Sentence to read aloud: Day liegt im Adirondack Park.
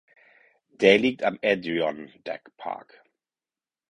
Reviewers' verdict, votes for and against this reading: rejected, 2, 4